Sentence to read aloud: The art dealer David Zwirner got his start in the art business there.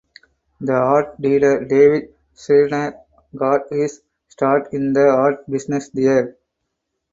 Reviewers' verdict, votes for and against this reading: rejected, 2, 4